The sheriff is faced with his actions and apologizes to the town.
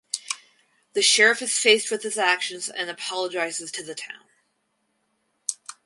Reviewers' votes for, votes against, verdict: 4, 0, accepted